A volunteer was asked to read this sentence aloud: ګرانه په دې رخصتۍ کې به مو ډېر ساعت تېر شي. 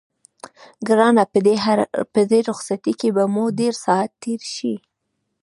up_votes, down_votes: 1, 2